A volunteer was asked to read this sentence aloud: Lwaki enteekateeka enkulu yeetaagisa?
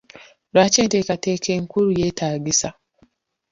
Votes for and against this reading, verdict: 1, 2, rejected